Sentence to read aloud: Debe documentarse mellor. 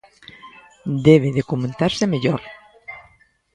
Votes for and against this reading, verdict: 0, 2, rejected